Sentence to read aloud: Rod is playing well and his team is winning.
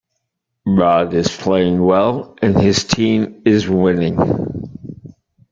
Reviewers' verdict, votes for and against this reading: rejected, 1, 2